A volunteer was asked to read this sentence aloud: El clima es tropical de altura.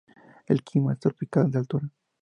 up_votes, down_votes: 2, 0